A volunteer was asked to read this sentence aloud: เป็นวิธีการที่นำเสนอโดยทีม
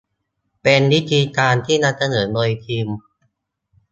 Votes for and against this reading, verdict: 2, 0, accepted